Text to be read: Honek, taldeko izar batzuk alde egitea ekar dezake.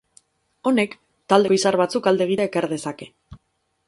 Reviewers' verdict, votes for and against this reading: rejected, 0, 4